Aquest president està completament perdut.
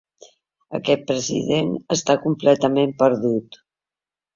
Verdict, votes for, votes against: accepted, 2, 0